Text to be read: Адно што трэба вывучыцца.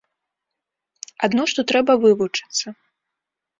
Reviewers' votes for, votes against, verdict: 3, 0, accepted